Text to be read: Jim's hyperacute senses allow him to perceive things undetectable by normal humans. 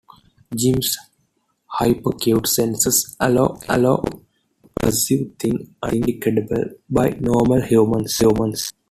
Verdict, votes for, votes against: rejected, 0, 2